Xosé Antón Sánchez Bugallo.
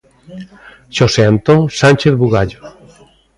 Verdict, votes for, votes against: accepted, 2, 0